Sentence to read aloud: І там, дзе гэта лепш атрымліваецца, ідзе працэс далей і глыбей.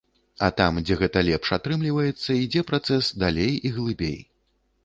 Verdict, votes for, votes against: rejected, 1, 2